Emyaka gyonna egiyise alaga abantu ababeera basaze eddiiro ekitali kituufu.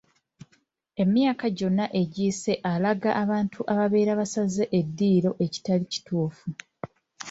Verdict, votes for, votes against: accepted, 3, 2